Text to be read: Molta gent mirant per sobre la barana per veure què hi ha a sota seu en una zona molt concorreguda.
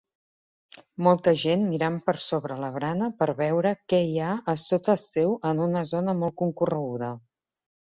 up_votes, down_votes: 2, 0